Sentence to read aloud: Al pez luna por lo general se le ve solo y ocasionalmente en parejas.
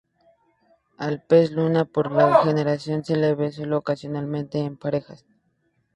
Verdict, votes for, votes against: rejected, 0, 2